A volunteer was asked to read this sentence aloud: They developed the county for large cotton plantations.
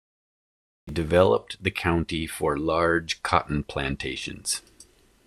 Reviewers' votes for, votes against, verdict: 1, 2, rejected